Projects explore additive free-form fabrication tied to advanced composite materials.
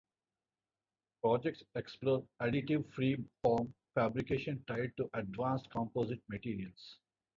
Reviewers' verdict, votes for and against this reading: rejected, 0, 2